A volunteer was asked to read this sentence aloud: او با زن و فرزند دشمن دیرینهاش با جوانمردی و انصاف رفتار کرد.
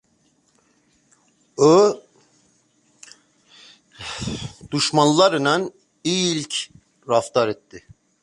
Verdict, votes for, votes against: rejected, 0, 2